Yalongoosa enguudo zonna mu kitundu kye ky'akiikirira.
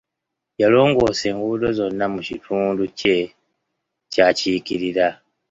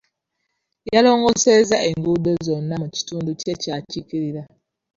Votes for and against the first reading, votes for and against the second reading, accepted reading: 2, 0, 0, 2, first